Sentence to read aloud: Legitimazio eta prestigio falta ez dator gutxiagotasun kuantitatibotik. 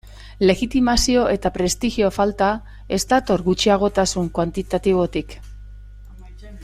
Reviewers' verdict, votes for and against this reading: accepted, 2, 0